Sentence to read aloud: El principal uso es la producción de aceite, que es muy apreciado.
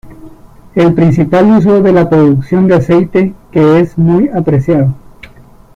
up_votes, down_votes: 0, 2